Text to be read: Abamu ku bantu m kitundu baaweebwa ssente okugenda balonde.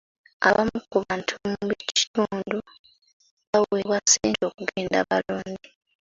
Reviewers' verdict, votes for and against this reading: rejected, 1, 2